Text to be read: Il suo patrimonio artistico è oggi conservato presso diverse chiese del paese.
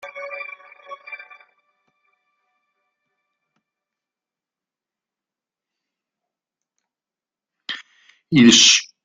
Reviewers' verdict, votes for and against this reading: rejected, 0, 2